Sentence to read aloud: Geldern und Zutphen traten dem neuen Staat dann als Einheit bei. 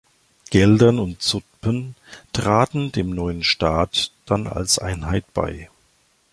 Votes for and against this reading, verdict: 0, 2, rejected